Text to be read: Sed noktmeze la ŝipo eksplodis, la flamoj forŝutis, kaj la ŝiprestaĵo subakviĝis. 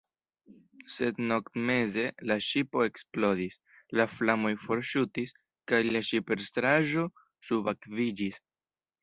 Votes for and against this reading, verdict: 2, 0, accepted